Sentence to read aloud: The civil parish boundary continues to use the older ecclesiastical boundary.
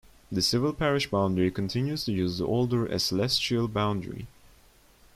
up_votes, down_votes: 1, 2